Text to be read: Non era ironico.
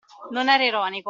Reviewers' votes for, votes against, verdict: 2, 0, accepted